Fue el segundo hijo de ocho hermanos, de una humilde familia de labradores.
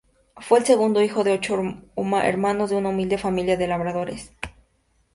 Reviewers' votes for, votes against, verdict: 2, 0, accepted